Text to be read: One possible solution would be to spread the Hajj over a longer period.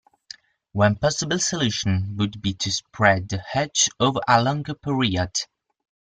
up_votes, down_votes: 1, 2